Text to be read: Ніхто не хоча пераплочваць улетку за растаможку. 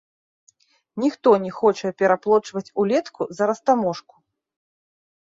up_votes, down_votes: 1, 2